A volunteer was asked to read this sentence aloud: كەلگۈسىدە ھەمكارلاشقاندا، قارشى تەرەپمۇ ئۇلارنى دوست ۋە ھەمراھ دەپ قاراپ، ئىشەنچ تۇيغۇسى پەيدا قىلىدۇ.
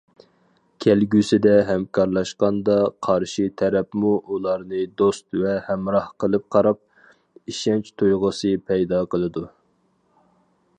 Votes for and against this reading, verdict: 0, 4, rejected